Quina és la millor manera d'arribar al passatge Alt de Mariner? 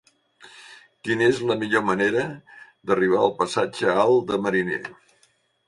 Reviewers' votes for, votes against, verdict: 3, 1, accepted